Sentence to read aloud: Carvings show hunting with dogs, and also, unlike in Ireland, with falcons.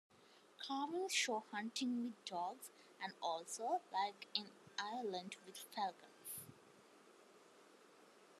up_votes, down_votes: 2, 1